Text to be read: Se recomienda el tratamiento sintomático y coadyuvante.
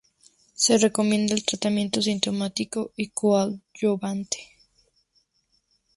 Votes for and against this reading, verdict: 2, 0, accepted